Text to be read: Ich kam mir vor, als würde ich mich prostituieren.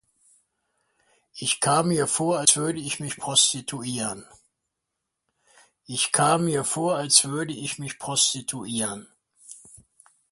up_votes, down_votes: 0, 2